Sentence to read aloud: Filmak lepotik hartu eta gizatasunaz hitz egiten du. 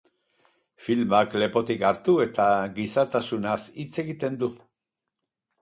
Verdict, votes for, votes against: rejected, 0, 2